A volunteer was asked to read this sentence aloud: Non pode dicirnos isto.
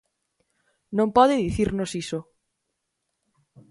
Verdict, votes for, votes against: rejected, 0, 4